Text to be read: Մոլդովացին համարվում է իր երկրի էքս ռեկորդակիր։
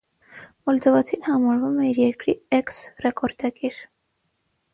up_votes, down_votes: 6, 0